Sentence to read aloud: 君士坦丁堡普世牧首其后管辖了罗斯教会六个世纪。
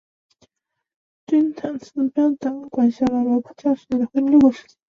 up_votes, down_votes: 0, 2